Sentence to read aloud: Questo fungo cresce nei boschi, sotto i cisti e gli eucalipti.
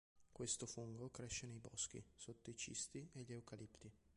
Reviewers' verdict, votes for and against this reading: accepted, 2, 1